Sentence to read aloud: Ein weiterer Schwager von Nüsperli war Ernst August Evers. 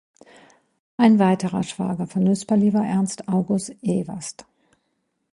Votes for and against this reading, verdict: 0, 2, rejected